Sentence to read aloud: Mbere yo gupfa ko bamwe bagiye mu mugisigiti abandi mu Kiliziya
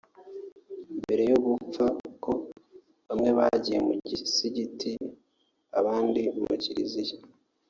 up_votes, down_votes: 1, 2